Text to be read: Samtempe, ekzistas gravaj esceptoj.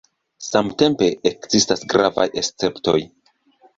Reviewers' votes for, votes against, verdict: 1, 2, rejected